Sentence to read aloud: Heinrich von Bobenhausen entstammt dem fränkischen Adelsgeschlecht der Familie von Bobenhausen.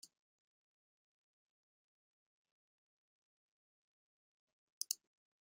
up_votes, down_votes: 0, 2